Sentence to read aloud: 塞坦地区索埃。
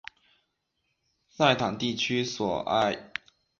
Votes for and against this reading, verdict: 3, 0, accepted